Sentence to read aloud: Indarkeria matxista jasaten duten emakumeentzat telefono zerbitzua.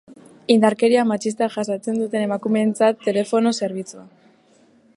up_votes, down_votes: 2, 1